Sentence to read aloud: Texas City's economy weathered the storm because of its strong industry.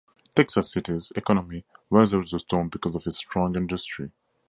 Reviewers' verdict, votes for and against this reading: accepted, 2, 0